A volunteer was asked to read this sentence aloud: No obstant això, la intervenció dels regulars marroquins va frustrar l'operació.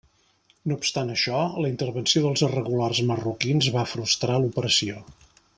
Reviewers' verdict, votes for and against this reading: accepted, 2, 0